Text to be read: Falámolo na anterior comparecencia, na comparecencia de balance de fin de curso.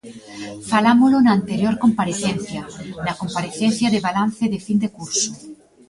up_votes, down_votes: 2, 1